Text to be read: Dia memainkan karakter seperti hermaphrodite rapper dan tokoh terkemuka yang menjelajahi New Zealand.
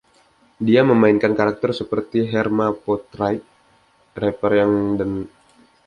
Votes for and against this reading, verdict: 0, 2, rejected